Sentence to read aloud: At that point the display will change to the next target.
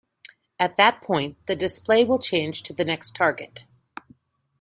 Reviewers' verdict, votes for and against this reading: accepted, 2, 0